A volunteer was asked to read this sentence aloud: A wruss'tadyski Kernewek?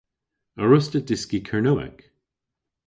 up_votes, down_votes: 1, 2